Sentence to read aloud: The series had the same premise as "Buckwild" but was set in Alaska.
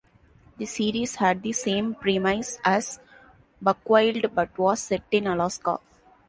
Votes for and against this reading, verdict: 0, 2, rejected